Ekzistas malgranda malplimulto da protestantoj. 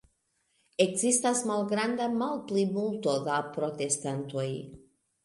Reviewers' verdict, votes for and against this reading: accepted, 2, 1